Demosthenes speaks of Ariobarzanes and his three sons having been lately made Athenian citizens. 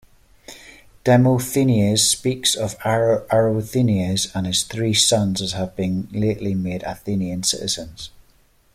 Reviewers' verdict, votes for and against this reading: rejected, 1, 2